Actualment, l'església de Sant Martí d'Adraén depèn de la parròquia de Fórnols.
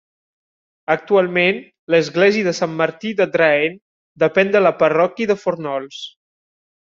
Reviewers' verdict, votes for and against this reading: rejected, 1, 2